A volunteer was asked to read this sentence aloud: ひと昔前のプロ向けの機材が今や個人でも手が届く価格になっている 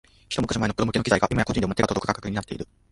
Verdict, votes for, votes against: rejected, 1, 2